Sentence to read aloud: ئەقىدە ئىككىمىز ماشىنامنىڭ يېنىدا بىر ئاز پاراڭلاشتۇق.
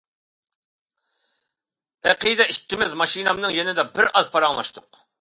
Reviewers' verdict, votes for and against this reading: accepted, 2, 0